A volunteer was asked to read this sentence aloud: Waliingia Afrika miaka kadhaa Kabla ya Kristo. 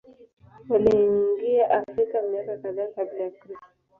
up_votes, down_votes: 0, 2